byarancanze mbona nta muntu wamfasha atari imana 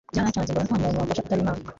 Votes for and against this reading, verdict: 0, 2, rejected